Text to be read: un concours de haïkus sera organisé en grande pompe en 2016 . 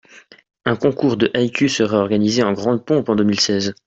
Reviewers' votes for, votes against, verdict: 0, 2, rejected